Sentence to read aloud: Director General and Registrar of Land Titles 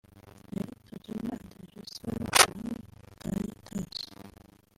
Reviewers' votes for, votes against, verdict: 0, 2, rejected